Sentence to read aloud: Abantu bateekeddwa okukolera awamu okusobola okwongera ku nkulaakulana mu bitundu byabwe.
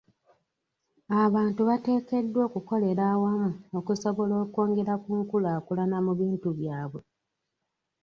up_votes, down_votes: 1, 2